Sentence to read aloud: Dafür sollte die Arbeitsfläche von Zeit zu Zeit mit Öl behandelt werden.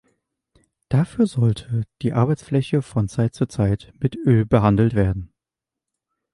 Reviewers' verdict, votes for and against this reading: accepted, 2, 0